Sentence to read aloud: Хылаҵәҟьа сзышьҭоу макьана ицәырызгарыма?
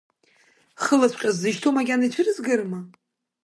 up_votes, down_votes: 2, 1